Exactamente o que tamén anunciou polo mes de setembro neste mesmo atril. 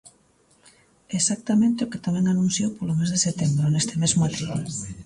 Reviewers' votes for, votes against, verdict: 2, 3, rejected